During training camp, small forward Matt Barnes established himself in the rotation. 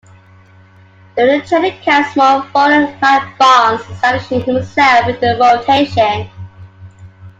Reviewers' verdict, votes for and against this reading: rejected, 0, 2